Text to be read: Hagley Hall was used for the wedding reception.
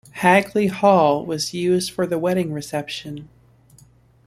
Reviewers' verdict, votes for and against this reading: accepted, 2, 0